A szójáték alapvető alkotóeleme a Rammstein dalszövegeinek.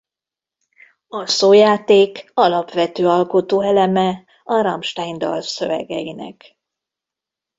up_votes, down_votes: 2, 0